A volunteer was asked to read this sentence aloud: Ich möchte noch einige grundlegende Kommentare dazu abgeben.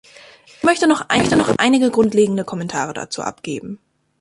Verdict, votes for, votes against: rejected, 0, 2